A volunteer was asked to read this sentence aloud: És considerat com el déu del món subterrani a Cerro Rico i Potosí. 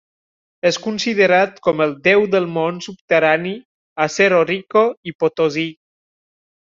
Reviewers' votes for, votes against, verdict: 1, 2, rejected